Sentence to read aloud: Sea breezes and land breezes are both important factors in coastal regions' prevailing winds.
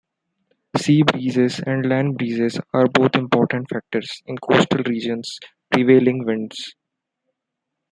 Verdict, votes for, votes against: accepted, 2, 1